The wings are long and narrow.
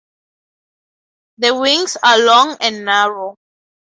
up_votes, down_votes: 2, 0